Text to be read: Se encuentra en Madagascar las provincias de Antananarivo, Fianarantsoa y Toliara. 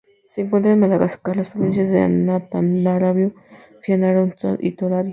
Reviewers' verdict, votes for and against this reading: rejected, 0, 2